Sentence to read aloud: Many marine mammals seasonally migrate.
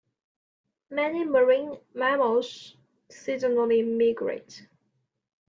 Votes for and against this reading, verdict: 0, 2, rejected